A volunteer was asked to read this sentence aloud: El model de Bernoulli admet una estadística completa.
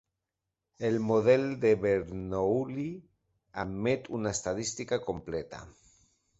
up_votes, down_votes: 2, 1